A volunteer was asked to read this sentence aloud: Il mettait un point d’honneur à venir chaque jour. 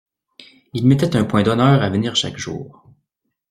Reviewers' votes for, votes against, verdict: 3, 0, accepted